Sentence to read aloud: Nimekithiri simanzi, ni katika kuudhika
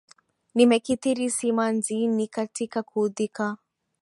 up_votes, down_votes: 2, 0